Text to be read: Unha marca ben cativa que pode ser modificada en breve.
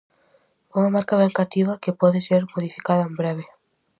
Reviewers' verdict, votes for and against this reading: accepted, 4, 0